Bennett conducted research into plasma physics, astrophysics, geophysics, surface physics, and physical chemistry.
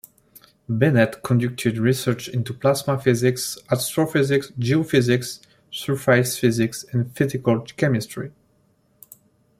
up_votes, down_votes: 0, 2